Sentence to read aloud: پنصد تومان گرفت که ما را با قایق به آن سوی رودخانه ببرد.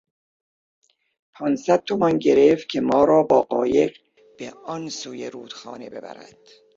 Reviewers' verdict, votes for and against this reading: rejected, 0, 2